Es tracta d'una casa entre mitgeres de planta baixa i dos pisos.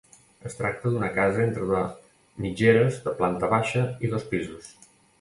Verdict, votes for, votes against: rejected, 1, 2